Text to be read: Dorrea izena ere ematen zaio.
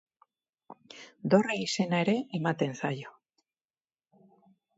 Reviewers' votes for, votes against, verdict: 4, 0, accepted